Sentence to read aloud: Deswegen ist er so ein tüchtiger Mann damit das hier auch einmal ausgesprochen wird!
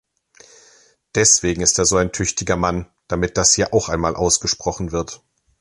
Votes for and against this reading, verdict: 2, 0, accepted